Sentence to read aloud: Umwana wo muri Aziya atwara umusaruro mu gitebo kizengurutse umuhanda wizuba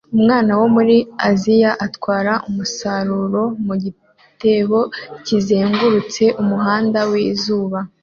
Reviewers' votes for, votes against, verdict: 2, 0, accepted